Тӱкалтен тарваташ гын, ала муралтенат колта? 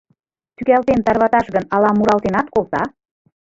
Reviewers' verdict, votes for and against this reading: rejected, 0, 2